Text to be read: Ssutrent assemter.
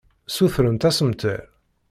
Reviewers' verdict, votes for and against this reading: accepted, 2, 0